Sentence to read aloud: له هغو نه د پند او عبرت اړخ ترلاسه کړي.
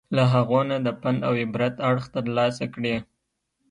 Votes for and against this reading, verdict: 2, 0, accepted